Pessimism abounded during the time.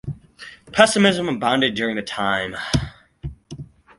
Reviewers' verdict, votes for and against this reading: accepted, 4, 0